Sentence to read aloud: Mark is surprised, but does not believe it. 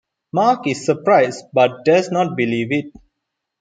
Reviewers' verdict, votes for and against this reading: accepted, 2, 0